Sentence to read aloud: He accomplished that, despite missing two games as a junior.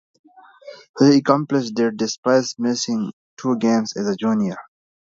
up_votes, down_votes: 1, 2